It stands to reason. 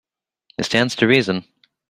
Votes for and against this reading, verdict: 2, 0, accepted